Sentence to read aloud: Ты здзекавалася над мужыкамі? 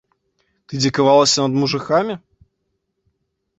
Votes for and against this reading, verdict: 1, 2, rejected